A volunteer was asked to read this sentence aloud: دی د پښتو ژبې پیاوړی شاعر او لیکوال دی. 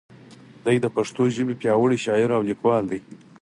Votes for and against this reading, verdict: 4, 0, accepted